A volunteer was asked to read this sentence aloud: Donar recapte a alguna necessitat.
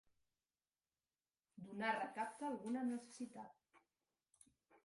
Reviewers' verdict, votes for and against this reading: rejected, 1, 2